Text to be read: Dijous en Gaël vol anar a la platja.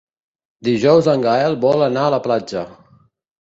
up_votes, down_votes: 2, 0